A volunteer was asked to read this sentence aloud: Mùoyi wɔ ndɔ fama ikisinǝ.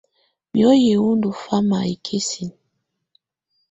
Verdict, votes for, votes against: accepted, 2, 0